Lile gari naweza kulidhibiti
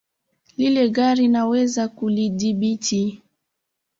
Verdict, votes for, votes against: rejected, 1, 2